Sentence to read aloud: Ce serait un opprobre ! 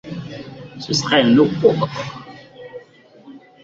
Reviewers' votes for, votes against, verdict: 0, 2, rejected